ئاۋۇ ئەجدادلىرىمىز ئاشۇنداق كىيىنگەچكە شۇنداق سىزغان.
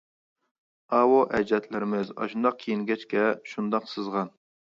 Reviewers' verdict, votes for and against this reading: accepted, 2, 0